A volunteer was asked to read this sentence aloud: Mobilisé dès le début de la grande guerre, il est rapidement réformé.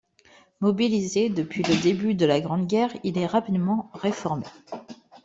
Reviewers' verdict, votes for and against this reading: rejected, 1, 2